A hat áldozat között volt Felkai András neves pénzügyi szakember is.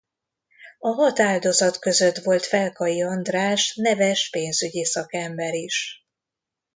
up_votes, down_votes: 2, 0